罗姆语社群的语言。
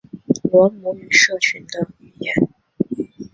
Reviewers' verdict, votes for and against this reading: rejected, 0, 2